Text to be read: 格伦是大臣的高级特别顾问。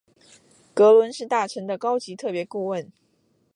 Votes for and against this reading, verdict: 4, 0, accepted